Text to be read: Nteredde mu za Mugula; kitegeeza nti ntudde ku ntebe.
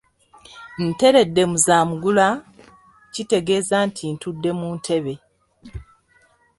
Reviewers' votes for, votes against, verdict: 0, 3, rejected